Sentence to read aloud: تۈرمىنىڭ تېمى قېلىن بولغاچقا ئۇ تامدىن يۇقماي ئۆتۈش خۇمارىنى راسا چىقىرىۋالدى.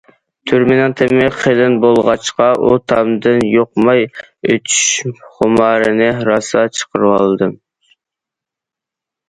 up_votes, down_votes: 0, 2